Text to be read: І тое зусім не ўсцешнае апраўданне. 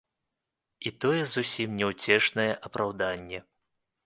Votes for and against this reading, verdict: 0, 2, rejected